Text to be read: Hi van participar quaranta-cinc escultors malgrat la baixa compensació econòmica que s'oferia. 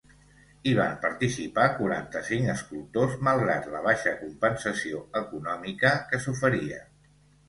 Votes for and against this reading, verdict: 2, 0, accepted